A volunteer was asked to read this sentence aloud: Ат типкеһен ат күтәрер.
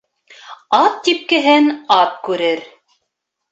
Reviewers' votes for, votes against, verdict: 1, 2, rejected